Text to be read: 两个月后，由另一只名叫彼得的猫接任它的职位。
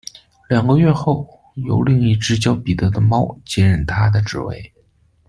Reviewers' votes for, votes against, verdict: 2, 1, accepted